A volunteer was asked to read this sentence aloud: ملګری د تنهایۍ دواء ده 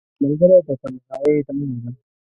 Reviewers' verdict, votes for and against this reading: rejected, 1, 2